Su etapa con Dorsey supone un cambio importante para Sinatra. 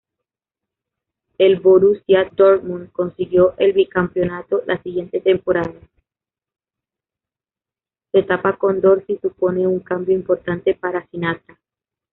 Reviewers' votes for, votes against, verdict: 0, 2, rejected